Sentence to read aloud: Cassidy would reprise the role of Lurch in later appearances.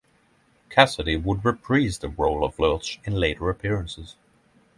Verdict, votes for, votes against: rejected, 3, 6